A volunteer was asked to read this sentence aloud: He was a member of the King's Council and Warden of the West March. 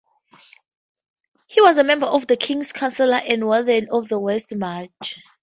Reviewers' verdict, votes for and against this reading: rejected, 2, 2